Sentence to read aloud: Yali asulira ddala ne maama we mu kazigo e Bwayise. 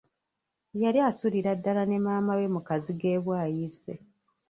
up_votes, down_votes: 1, 2